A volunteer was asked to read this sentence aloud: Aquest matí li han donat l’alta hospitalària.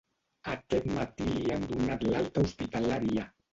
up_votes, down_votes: 1, 3